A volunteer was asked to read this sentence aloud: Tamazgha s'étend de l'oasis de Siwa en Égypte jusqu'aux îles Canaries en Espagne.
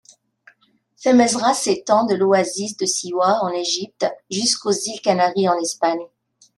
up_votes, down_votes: 2, 0